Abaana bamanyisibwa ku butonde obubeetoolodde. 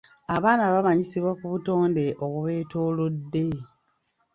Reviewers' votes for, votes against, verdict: 2, 0, accepted